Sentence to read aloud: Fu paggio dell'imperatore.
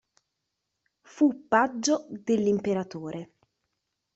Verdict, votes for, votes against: accepted, 2, 1